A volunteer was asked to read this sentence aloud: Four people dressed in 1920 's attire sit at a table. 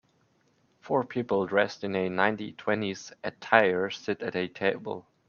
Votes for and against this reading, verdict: 0, 2, rejected